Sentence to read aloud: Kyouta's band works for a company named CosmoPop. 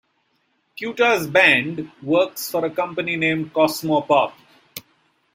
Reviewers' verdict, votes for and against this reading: rejected, 1, 2